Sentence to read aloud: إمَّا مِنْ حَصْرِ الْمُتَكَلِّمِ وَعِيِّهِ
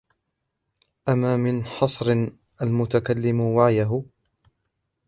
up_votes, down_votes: 1, 2